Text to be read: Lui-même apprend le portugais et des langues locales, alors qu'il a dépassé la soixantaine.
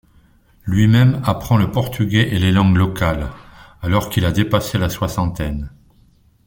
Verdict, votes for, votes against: rejected, 1, 2